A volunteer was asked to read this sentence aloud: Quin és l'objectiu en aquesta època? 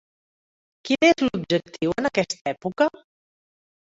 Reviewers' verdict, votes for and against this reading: accepted, 3, 0